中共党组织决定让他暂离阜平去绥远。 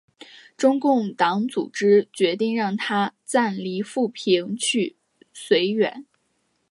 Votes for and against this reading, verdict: 2, 0, accepted